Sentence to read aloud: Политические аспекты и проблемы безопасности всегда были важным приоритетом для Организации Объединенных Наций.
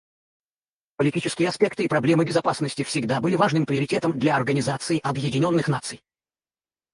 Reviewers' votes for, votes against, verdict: 2, 4, rejected